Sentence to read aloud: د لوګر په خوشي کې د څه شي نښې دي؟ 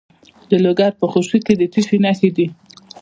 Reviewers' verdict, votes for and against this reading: rejected, 1, 2